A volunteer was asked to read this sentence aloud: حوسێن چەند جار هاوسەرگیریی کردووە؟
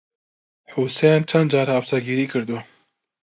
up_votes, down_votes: 2, 0